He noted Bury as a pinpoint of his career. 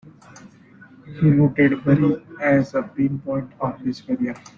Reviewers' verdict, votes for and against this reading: rejected, 0, 2